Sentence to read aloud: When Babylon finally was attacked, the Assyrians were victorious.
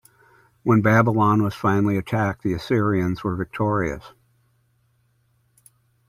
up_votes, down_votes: 0, 2